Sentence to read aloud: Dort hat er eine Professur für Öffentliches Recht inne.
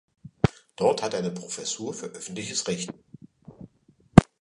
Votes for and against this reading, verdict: 0, 2, rejected